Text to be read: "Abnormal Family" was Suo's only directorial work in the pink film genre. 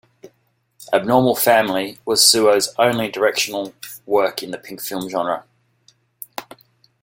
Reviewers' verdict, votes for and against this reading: rejected, 1, 2